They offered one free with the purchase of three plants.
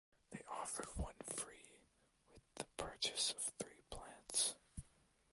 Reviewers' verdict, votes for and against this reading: rejected, 1, 2